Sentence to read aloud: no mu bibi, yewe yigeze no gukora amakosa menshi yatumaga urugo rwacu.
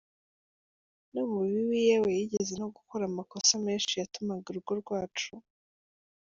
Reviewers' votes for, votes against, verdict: 2, 0, accepted